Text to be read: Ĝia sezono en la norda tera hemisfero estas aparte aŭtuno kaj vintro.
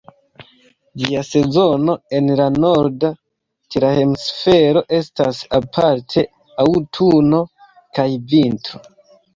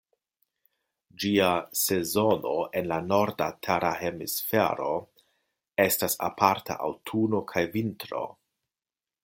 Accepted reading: first